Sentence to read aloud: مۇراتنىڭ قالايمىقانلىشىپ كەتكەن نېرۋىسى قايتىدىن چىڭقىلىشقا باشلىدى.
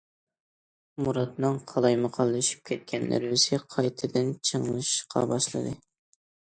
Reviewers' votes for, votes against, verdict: 0, 2, rejected